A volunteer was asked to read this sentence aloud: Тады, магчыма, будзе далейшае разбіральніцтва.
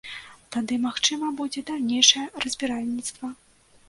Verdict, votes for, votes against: rejected, 0, 2